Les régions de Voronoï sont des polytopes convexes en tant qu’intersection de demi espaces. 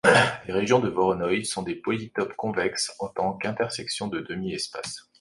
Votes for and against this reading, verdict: 1, 2, rejected